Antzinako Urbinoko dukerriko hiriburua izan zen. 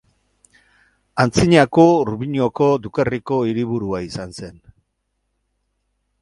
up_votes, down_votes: 4, 0